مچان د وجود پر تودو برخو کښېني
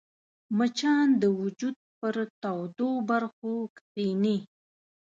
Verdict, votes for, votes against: accepted, 2, 0